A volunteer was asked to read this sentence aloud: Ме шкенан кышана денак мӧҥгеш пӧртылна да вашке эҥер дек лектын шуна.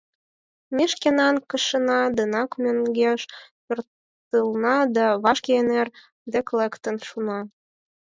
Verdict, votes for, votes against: accepted, 4, 0